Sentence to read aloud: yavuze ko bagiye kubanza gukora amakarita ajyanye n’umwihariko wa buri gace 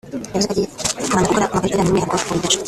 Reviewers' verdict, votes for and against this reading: rejected, 0, 2